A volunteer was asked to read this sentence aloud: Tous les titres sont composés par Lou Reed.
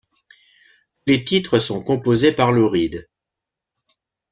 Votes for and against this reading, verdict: 1, 2, rejected